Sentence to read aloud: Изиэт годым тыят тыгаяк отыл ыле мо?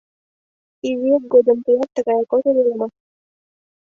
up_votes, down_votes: 2, 0